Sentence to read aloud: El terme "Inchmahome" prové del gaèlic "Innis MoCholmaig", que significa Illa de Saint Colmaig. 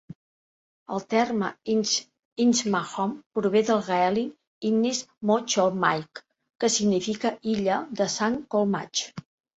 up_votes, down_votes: 0, 4